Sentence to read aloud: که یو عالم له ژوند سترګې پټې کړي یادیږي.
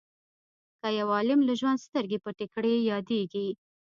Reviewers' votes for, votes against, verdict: 1, 2, rejected